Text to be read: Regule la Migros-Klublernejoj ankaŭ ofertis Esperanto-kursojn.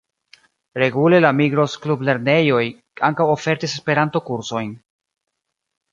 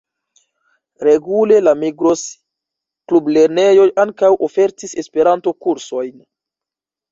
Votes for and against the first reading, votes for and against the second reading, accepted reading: 2, 0, 1, 2, first